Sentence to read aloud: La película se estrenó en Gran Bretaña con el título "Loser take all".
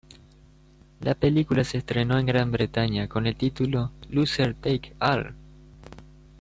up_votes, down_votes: 1, 2